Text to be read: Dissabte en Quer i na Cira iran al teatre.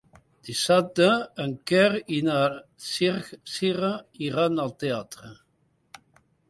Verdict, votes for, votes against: rejected, 1, 2